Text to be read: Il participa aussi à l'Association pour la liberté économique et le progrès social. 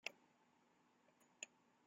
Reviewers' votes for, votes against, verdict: 0, 2, rejected